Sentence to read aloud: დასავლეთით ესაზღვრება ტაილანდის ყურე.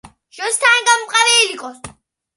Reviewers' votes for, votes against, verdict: 0, 2, rejected